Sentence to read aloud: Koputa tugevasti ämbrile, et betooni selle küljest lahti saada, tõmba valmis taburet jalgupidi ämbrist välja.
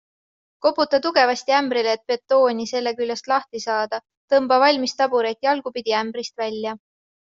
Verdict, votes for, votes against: accepted, 2, 0